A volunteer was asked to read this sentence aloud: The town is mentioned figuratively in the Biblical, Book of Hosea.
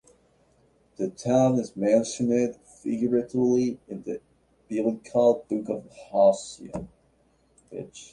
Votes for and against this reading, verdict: 0, 2, rejected